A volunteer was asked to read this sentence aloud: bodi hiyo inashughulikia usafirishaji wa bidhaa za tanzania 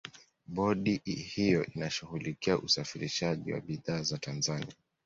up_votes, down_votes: 2, 0